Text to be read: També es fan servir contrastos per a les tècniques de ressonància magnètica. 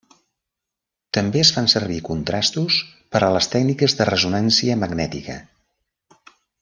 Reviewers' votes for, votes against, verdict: 1, 2, rejected